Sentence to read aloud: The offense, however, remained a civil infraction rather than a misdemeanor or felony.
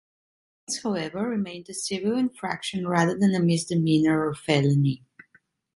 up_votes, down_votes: 1, 2